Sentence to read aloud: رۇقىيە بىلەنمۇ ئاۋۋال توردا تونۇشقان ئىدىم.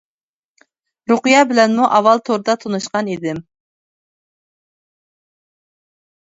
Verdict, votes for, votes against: accepted, 2, 0